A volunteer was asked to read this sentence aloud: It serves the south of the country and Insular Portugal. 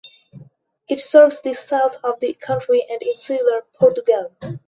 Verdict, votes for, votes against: accepted, 2, 0